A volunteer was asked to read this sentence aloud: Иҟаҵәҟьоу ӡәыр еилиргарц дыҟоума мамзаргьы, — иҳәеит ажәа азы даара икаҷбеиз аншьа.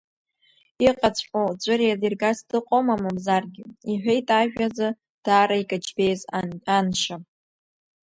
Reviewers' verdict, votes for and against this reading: rejected, 1, 2